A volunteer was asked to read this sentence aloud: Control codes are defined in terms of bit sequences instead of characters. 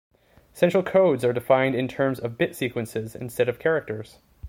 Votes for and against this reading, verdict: 0, 2, rejected